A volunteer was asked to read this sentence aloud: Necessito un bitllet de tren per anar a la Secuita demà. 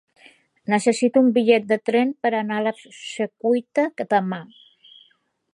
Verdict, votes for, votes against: rejected, 0, 2